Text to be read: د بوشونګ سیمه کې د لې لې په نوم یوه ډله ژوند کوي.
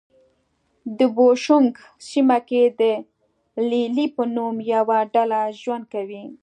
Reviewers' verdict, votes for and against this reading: accepted, 2, 0